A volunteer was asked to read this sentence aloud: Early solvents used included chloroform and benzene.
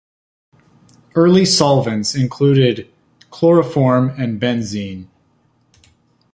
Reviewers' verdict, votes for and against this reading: rejected, 2, 3